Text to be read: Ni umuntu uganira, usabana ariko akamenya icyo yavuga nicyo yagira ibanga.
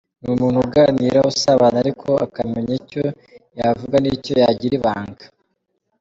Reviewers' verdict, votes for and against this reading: accepted, 2, 0